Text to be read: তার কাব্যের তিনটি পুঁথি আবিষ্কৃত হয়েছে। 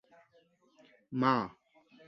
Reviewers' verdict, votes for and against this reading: rejected, 1, 6